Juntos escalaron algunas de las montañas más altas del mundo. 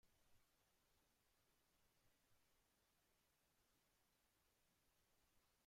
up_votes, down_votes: 0, 2